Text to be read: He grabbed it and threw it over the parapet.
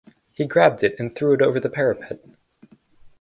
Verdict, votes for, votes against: accepted, 4, 0